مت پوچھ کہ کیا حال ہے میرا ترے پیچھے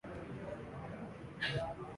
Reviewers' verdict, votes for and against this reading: rejected, 0, 2